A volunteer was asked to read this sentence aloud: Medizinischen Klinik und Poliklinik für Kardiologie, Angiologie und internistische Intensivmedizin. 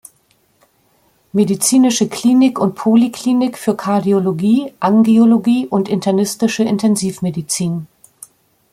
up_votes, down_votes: 1, 2